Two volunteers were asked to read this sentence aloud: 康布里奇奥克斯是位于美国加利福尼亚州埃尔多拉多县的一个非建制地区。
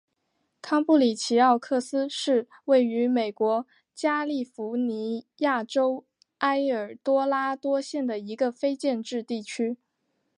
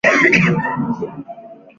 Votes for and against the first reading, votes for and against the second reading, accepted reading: 2, 0, 0, 4, first